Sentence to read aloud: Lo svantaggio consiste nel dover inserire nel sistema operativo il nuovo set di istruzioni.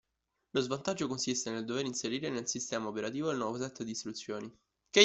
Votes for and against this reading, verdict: 1, 2, rejected